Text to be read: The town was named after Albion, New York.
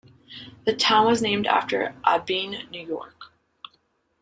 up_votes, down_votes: 0, 2